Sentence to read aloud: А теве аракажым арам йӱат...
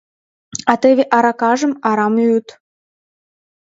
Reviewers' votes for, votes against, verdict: 2, 1, accepted